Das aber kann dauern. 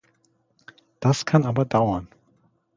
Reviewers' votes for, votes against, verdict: 0, 2, rejected